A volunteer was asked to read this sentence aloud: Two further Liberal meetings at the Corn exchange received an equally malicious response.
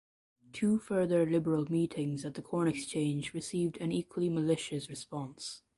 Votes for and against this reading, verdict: 2, 1, accepted